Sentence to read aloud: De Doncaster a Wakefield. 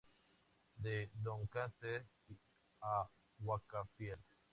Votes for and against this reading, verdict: 0, 2, rejected